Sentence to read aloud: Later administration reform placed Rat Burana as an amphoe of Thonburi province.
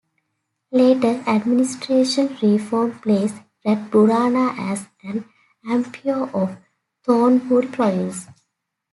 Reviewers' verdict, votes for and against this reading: accepted, 2, 1